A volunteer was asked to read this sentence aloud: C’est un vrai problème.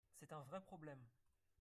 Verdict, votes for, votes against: rejected, 0, 2